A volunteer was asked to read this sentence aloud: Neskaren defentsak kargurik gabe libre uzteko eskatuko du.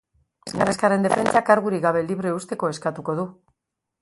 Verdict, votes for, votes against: rejected, 2, 3